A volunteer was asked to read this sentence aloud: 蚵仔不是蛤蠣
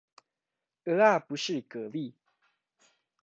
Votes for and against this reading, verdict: 2, 0, accepted